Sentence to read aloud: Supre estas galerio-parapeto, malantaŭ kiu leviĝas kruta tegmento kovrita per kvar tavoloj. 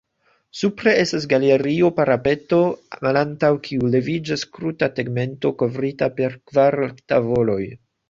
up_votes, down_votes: 2, 0